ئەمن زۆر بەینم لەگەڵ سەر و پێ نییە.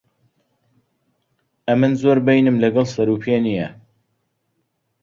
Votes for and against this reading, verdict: 2, 0, accepted